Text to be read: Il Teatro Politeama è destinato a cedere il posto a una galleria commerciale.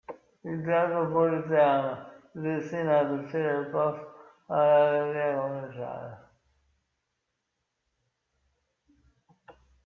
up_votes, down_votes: 0, 2